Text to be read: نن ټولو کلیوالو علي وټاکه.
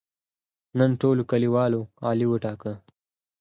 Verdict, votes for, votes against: accepted, 4, 0